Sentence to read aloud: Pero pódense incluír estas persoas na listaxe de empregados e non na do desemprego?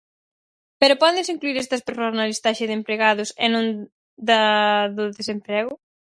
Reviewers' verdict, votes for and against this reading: rejected, 0, 4